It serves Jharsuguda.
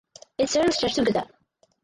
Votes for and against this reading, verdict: 0, 4, rejected